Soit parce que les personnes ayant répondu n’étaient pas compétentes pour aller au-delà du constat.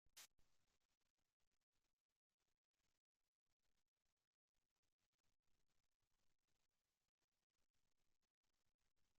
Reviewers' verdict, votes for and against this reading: rejected, 0, 2